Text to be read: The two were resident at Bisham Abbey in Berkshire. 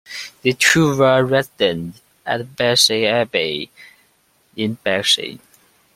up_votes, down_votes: 1, 2